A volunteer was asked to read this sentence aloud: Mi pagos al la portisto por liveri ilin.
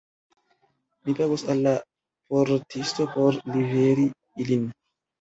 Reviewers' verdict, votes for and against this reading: accepted, 2, 1